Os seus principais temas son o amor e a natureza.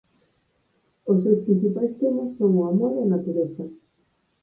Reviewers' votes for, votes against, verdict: 2, 6, rejected